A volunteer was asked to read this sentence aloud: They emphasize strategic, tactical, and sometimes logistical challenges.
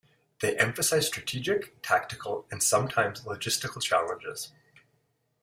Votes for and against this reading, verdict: 2, 0, accepted